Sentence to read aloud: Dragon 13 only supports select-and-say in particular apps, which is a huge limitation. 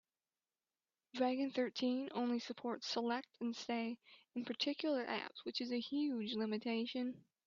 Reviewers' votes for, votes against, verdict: 0, 2, rejected